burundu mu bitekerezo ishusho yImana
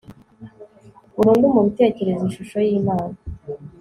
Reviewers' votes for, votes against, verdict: 2, 0, accepted